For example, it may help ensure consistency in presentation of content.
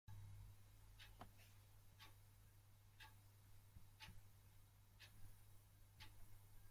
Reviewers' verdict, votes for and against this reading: rejected, 0, 2